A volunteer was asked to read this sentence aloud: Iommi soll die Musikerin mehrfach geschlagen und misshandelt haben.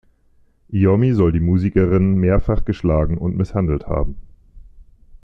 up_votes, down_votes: 2, 0